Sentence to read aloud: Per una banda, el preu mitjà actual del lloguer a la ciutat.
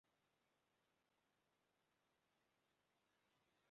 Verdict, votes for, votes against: rejected, 0, 2